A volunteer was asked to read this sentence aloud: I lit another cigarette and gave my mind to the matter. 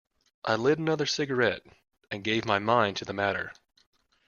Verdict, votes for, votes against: accepted, 2, 0